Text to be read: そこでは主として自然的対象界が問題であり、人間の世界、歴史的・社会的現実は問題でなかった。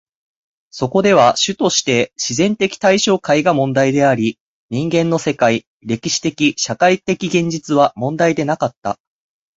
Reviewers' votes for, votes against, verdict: 4, 0, accepted